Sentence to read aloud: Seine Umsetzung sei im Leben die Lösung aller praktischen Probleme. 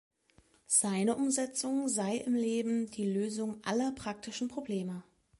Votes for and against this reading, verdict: 2, 0, accepted